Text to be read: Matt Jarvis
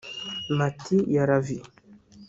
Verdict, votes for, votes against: rejected, 1, 2